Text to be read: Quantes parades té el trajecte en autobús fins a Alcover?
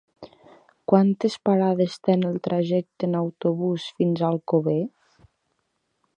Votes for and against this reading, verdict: 0, 2, rejected